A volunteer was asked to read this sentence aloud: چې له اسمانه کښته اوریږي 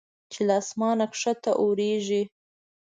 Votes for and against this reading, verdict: 2, 0, accepted